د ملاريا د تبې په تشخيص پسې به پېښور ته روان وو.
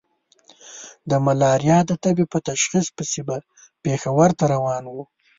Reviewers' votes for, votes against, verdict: 2, 0, accepted